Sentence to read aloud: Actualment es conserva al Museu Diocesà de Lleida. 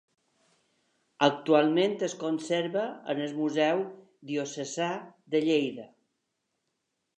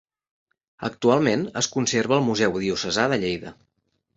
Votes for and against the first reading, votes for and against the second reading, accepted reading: 1, 2, 3, 0, second